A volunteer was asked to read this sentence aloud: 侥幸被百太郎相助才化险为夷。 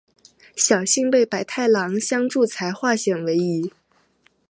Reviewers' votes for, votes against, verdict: 2, 0, accepted